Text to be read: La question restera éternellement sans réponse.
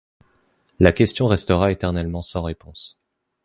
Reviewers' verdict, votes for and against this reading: accepted, 2, 0